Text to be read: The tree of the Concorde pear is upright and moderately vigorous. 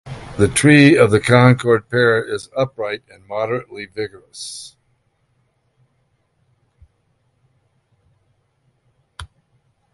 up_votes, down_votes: 2, 1